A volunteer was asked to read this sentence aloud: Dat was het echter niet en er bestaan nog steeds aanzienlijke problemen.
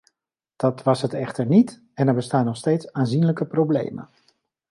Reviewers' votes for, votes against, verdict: 2, 0, accepted